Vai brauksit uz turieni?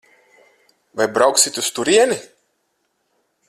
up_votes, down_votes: 4, 0